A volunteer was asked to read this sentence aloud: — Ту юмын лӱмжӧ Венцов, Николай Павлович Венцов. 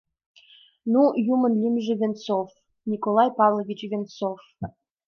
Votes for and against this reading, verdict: 0, 2, rejected